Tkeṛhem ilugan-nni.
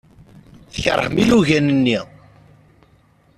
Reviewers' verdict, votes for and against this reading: rejected, 0, 2